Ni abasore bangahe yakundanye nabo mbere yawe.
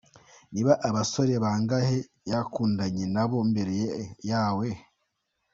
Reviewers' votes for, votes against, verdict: 1, 2, rejected